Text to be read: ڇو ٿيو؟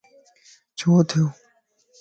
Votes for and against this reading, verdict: 2, 0, accepted